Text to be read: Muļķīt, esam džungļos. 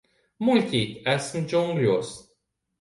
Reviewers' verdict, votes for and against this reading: rejected, 1, 2